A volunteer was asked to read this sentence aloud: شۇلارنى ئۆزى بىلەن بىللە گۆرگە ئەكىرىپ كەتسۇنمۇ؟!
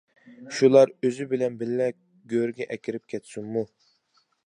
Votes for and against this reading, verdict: 0, 2, rejected